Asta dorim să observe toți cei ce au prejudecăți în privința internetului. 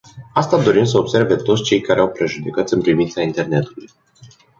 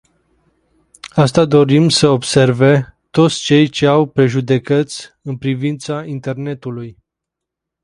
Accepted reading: second